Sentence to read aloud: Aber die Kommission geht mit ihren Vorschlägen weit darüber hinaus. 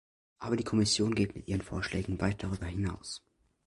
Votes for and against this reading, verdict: 2, 0, accepted